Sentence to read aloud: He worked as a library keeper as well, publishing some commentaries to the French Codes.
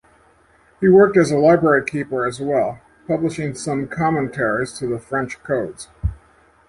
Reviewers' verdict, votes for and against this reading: accepted, 2, 0